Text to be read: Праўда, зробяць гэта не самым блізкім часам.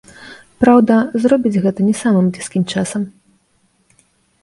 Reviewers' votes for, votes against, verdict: 1, 2, rejected